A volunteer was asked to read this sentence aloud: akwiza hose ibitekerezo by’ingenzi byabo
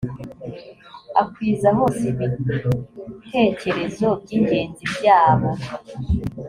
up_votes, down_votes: 2, 0